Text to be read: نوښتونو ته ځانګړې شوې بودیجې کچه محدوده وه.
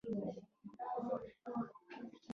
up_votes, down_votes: 1, 2